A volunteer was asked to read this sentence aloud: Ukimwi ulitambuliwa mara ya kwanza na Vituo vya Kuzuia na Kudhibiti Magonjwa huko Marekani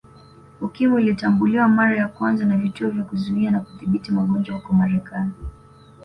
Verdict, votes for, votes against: accepted, 2, 0